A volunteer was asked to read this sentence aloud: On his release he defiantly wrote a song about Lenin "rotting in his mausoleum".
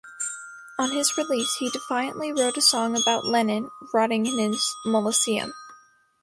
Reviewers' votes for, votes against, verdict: 1, 2, rejected